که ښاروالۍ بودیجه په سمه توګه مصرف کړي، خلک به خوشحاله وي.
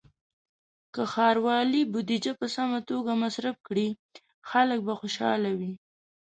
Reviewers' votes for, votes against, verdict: 1, 2, rejected